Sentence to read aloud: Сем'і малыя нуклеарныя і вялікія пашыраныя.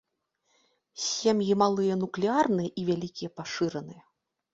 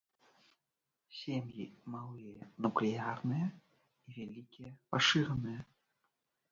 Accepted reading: first